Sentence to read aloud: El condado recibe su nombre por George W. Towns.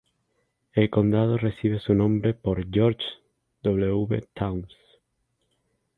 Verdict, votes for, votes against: accepted, 2, 0